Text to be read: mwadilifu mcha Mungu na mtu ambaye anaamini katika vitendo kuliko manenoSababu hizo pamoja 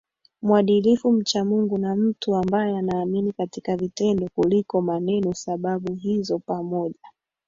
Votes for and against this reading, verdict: 2, 1, accepted